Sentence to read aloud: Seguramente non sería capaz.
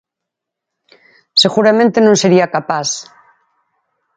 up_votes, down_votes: 4, 0